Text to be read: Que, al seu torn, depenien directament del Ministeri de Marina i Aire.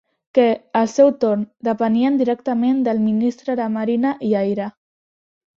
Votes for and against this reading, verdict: 1, 3, rejected